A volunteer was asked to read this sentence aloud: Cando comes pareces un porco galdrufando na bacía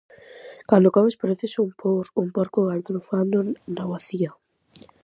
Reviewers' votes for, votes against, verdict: 0, 2, rejected